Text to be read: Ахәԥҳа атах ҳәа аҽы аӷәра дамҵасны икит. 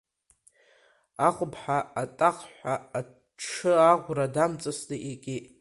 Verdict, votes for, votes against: rejected, 0, 2